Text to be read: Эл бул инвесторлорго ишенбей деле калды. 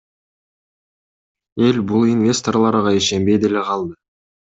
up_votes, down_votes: 2, 0